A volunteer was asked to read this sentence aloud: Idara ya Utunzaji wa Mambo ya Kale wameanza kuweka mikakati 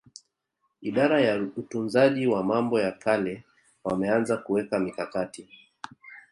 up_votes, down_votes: 1, 2